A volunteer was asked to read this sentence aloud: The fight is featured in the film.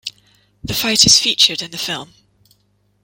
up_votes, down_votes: 2, 0